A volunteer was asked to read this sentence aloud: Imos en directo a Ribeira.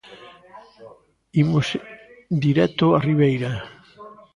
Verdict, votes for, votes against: rejected, 1, 2